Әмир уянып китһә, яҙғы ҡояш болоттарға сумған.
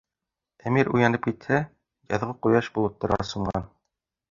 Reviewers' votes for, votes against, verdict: 2, 1, accepted